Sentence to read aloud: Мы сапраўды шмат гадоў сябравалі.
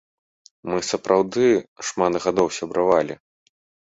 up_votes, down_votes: 2, 0